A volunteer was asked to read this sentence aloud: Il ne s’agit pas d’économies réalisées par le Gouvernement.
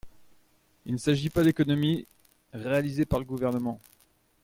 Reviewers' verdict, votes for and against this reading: rejected, 0, 2